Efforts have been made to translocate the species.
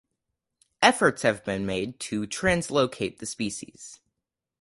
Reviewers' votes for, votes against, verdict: 4, 0, accepted